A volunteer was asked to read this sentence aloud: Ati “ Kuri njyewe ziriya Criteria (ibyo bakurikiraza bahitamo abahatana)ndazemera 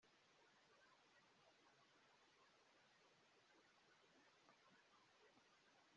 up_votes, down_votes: 1, 2